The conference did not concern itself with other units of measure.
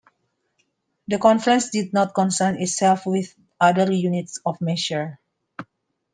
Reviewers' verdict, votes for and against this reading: accepted, 2, 1